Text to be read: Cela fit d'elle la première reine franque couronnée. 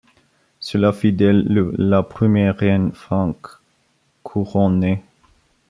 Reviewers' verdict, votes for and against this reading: rejected, 0, 2